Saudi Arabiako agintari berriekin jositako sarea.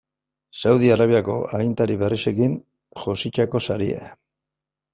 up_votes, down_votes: 1, 2